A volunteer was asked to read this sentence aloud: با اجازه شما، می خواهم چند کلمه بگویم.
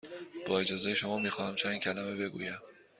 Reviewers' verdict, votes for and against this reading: accepted, 3, 0